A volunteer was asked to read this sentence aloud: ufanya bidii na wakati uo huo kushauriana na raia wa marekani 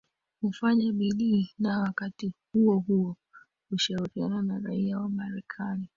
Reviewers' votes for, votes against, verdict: 2, 1, accepted